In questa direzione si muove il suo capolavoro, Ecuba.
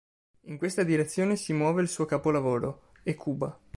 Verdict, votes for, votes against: accepted, 2, 0